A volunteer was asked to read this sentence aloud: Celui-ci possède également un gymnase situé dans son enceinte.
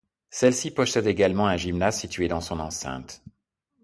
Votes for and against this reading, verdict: 1, 2, rejected